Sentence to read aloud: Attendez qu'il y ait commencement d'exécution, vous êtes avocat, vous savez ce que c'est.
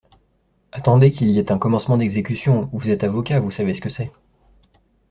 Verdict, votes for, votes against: rejected, 0, 2